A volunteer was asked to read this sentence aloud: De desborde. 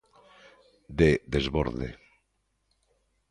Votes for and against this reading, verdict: 2, 0, accepted